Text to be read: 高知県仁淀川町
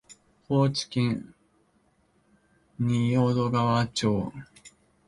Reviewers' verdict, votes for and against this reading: accepted, 3, 2